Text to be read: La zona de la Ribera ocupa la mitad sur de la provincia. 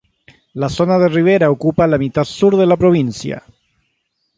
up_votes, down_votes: 0, 3